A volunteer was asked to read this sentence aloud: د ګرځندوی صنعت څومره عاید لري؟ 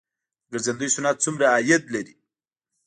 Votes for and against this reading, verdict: 0, 2, rejected